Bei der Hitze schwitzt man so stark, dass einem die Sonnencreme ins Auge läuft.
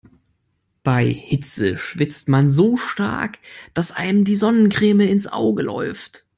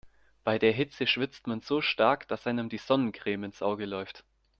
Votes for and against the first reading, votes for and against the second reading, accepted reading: 0, 2, 2, 0, second